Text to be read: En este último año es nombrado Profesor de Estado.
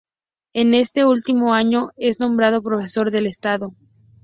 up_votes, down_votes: 2, 0